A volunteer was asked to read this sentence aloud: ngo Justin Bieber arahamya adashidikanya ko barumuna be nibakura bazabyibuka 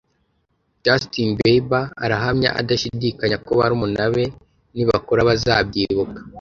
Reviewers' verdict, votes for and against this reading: rejected, 0, 2